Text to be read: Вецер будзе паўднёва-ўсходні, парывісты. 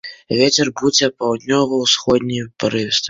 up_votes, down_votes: 2, 0